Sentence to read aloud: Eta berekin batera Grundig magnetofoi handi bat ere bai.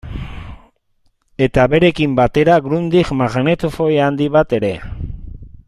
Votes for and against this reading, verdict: 1, 2, rejected